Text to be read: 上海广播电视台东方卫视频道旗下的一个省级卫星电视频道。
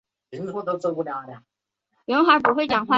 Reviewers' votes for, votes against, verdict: 1, 3, rejected